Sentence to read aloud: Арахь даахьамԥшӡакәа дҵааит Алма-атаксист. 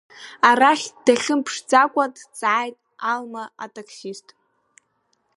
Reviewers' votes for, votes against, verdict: 0, 2, rejected